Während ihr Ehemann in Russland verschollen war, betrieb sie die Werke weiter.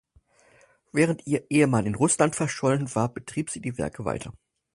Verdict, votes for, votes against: accepted, 4, 0